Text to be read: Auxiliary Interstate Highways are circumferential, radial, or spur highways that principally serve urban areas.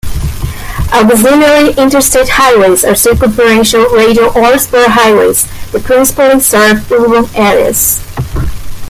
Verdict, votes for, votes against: rejected, 1, 2